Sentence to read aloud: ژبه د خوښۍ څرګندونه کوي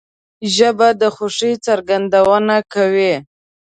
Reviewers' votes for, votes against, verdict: 2, 0, accepted